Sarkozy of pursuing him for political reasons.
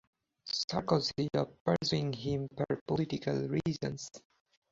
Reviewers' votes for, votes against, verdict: 4, 0, accepted